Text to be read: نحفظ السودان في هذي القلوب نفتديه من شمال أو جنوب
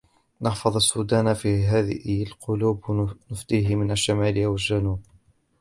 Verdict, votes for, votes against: rejected, 0, 2